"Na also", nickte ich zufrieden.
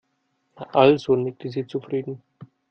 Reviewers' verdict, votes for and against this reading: rejected, 1, 2